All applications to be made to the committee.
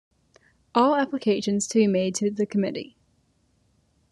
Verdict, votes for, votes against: accepted, 2, 1